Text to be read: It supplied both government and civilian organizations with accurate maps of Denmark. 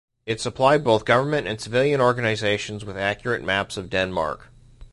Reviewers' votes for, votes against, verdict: 2, 0, accepted